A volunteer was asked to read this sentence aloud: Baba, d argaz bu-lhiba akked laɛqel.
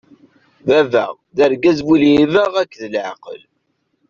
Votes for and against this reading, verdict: 2, 0, accepted